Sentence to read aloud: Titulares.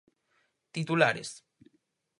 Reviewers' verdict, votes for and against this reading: accepted, 4, 0